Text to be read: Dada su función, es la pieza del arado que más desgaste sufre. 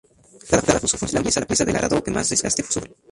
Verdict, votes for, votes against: rejected, 0, 2